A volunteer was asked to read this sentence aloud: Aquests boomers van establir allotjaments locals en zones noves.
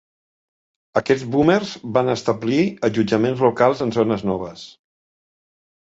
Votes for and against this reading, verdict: 2, 0, accepted